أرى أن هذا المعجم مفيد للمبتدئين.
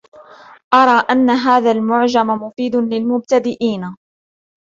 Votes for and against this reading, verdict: 2, 0, accepted